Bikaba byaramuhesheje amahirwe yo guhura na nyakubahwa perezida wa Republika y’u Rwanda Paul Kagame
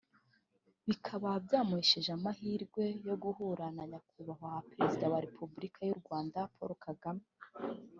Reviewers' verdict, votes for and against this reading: rejected, 1, 2